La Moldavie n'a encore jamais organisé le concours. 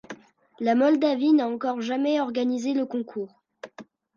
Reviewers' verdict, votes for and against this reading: accepted, 2, 0